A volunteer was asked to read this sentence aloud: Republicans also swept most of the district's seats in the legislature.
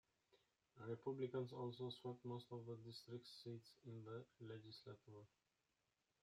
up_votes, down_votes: 0, 2